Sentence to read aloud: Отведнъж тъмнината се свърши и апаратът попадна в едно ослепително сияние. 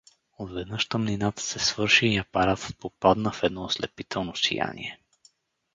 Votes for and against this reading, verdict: 4, 0, accepted